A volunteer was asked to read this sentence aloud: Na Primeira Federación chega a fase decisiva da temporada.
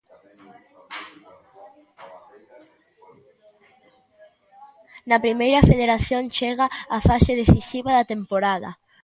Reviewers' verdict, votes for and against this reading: accepted, 2, 0